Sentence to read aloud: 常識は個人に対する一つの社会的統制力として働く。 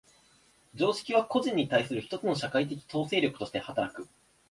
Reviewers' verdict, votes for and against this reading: accepted, 6, 0